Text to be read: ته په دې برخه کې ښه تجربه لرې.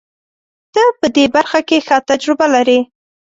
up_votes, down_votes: 2, 0